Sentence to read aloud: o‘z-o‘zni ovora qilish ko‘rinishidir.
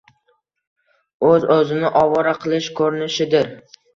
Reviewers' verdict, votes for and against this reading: accepted, 2, 1